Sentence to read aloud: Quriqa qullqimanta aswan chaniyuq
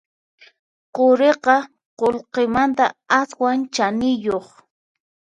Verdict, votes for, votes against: accepted, 4, 2